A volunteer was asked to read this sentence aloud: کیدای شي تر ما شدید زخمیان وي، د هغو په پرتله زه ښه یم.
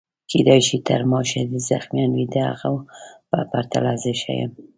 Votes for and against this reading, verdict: 2, 0, accepted